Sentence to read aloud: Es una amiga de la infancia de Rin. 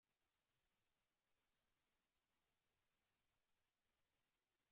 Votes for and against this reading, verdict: 0, 2, rejected